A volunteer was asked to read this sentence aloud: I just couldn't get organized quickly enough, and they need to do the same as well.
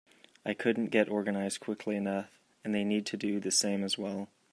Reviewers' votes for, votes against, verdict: 1, 2, rejected